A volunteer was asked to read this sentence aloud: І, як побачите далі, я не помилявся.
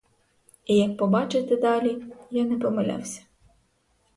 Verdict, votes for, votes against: rejected, 2, 2